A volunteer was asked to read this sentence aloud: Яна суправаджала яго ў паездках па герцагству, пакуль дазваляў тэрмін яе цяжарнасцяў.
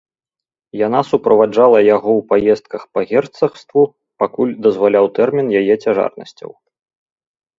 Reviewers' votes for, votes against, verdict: 4, 0, accepted